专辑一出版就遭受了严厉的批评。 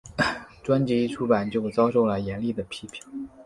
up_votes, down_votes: 2, 0